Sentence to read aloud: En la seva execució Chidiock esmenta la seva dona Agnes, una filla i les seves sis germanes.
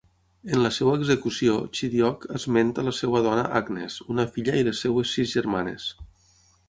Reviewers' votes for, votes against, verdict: 3, 6, rejected